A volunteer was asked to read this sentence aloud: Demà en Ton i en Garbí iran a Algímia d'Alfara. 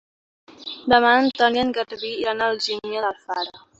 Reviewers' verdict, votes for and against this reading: rejected, 1, 2